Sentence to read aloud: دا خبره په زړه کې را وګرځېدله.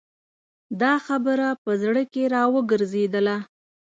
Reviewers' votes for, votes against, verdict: 2, 0, accepted